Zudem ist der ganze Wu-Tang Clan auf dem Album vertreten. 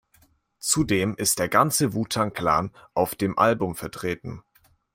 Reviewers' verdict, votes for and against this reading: accepted, 2, 0